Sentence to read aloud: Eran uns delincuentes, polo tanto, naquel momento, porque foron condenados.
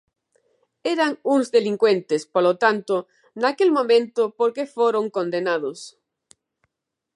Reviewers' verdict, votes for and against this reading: rejected, 1, 2